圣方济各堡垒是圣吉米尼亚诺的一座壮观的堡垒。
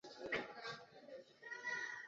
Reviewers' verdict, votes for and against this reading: rejected, 0, 2